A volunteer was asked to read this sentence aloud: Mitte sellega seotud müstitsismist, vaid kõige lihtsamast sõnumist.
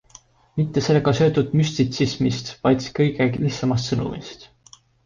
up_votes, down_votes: 2, 1